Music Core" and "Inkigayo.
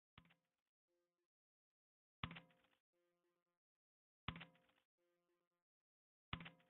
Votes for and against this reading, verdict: 0, 2, rejected